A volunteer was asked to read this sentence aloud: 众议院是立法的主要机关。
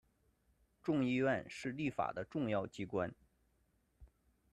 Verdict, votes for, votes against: rejected, 1, 2